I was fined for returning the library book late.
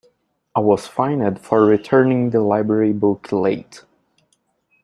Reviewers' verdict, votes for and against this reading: rejected, 0, 2